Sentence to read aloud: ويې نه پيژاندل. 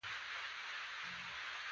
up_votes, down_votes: 1, 2